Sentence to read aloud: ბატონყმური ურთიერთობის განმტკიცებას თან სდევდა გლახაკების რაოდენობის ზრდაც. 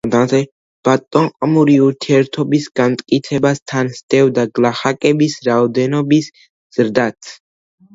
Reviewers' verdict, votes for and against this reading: accepted, 2, 0